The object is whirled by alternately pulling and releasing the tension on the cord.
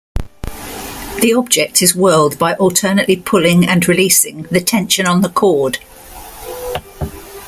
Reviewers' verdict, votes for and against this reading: accepted, 2, 0